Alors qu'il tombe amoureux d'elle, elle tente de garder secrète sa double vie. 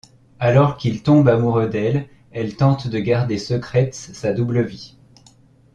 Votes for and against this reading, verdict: 0, 2, rejected